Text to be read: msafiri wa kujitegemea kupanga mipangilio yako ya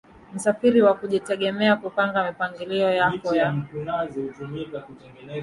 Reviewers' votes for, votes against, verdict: 0, 2, rejected